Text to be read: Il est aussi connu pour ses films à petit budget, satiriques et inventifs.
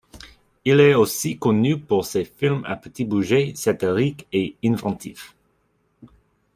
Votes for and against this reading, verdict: 0, 2, rejected